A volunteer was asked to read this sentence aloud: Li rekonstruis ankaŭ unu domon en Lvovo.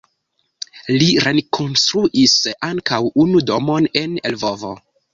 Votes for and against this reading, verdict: 1, 2, rejected